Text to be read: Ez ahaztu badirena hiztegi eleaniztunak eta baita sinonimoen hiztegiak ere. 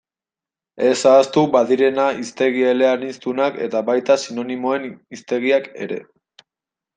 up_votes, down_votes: 0, 2